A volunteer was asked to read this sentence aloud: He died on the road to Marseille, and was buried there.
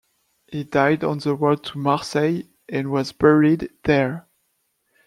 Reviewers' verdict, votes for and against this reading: accepted, 2, 0